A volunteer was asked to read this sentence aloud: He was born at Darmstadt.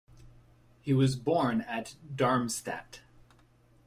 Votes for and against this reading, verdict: 2, 0, accepted